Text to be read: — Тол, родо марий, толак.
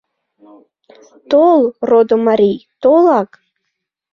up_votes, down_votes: 2, 0